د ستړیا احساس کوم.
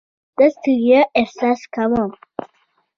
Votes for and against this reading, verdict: 1, 2, rejected